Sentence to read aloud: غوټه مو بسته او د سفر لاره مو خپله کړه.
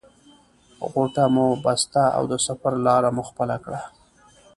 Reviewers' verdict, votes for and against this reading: accepted, 2, 1